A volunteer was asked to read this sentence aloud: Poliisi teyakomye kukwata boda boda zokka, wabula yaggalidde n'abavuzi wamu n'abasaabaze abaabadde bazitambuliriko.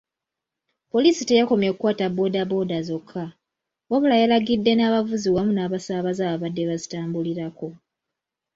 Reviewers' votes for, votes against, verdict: 0, 2, rejected